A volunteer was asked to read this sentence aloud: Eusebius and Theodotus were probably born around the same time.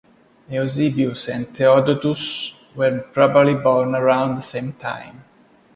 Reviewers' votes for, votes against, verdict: 0, 2, rejected